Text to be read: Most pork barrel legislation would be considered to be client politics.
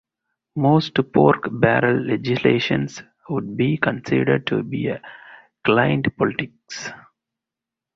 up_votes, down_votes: 2, 2